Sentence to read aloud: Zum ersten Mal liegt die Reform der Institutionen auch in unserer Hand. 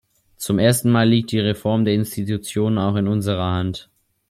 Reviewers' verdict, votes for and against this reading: accepted, 3, 0